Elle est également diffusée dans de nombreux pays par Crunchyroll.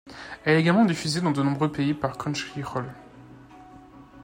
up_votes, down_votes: 2, 1